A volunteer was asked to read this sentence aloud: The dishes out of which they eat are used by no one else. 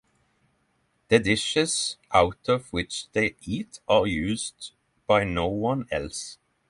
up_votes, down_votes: 6, 0